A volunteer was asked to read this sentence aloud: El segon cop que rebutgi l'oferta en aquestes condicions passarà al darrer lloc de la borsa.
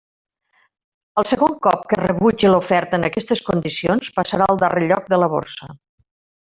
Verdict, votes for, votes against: rejected, 1, 2